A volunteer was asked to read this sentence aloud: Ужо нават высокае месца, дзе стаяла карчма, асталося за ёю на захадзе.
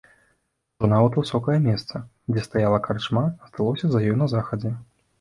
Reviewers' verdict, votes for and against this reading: rejected, 1, 2